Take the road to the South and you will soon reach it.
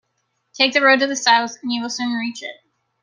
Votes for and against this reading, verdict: 2, 0, accepted